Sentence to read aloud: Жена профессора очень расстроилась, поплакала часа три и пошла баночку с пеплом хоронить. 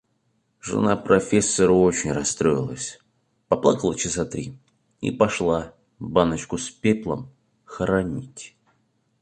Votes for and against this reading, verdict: 2, 0, accepted